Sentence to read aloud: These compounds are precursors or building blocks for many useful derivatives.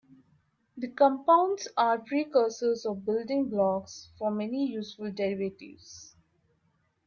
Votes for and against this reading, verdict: 0, 2, rejected